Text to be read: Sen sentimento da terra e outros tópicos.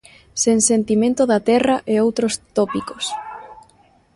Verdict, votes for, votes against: rejected, 0, 2